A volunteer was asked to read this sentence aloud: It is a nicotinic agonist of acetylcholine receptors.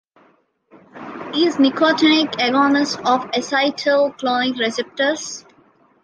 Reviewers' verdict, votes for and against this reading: rejected, 0, 2